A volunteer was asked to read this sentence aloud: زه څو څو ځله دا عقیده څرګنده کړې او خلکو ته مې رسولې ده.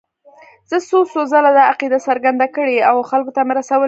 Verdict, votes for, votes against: accepted, 2, 0